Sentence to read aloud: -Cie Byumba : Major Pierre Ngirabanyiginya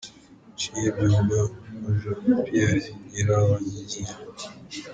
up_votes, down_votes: 1, 2